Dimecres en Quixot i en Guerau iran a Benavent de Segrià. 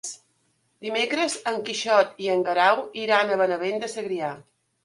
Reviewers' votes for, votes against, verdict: 3, 0, accepted